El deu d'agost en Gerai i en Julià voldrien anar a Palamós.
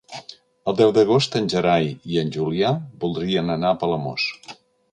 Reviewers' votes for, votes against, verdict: 3, 0, accepted